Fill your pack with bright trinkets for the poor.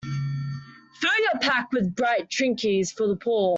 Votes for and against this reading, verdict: 1, 2, rejected